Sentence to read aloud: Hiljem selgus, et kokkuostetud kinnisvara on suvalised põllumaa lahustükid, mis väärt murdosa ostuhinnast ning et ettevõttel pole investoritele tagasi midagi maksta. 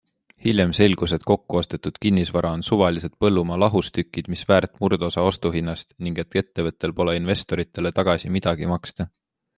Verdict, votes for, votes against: accepted, 2, 0